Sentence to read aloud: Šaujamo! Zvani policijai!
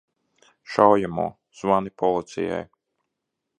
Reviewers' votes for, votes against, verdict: 2, 0, accepted